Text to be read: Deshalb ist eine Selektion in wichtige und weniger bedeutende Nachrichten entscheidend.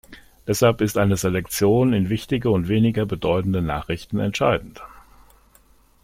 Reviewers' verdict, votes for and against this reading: accepted, 2, 0